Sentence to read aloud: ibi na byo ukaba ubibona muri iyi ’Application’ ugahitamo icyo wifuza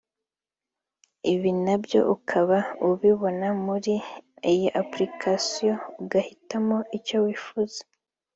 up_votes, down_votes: 3, 0